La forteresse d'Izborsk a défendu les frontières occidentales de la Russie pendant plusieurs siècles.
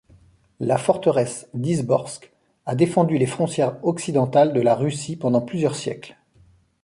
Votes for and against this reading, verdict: 0, 2, rejected